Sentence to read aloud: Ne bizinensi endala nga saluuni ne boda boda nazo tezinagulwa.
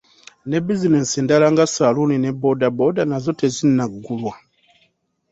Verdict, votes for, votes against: accepted, 2, 0